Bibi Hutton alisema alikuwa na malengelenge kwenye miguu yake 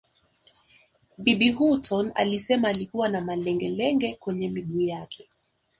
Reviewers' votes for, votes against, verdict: 4, 0, accepted